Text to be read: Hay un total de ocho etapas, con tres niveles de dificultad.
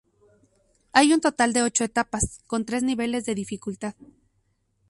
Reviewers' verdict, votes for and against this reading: accepted, 2, 0